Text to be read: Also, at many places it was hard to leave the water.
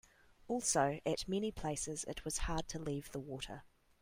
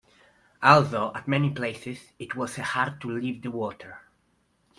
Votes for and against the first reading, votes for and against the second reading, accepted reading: 2, 0, 1, 2, first